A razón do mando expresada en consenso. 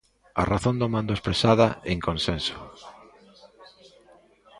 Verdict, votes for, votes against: accepted, 2, 0